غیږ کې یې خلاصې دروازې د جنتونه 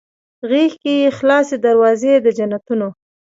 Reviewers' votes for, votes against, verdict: 1, 2, rejected